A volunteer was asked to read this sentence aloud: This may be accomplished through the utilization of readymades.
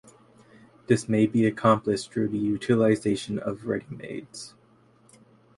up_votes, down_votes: 2, 2